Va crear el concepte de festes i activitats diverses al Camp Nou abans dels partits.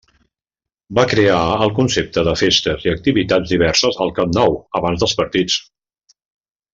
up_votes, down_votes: 3, 0